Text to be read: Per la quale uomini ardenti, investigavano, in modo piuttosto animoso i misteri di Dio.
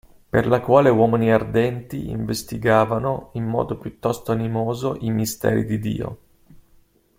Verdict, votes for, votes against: accepted, 2, 0